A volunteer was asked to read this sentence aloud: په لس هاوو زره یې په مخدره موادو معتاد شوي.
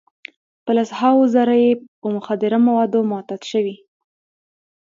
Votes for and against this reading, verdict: 2, 0, accepted